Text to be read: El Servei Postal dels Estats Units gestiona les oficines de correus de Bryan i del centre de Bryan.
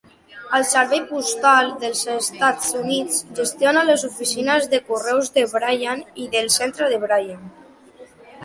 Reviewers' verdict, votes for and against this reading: accepted, 2, 1